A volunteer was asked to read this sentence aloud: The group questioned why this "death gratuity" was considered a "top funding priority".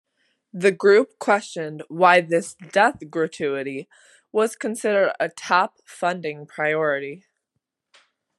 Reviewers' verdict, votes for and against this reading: accepted, 2, 0